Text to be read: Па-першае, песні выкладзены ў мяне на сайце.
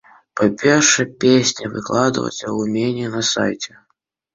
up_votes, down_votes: 1, 2